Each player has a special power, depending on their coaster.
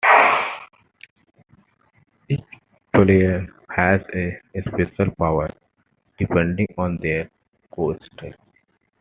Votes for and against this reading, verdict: 2, 1, accepted